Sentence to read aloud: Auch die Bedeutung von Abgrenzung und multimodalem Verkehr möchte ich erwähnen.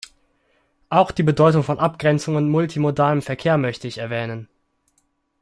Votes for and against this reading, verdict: 2, 0, accepted